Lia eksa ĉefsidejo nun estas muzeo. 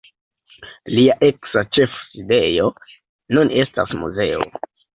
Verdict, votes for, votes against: accepted, 2, 0